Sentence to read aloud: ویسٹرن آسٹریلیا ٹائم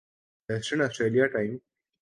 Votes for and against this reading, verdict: 14, 0, accepted